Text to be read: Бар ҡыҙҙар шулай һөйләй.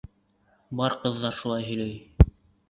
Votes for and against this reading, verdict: 2, 0, accepted